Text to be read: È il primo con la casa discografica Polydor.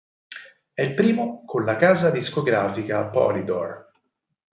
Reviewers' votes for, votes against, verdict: 4, 0, accepted